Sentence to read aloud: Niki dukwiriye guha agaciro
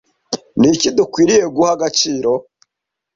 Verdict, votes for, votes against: accepted, 2, 0